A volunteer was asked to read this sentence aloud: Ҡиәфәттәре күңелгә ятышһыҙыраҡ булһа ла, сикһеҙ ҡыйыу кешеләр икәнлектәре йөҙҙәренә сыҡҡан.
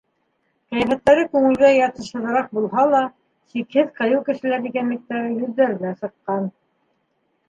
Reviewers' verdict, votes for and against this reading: accepted, 2, 0